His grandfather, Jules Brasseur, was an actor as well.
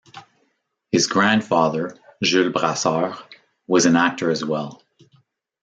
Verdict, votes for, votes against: accepted, 2, 0